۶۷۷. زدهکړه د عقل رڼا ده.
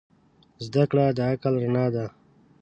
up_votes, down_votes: 0, 2